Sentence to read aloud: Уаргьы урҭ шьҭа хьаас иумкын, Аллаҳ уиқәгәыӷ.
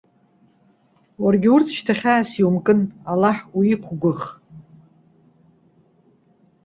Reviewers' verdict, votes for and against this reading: accepted, 2, 0